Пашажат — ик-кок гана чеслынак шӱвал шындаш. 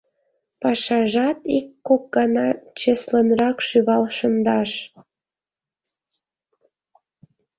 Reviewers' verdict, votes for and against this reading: rejected, 0, 2